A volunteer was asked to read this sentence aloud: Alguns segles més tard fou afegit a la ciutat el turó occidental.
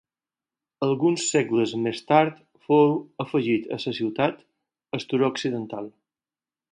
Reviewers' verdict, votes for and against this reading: rejected, 0, 4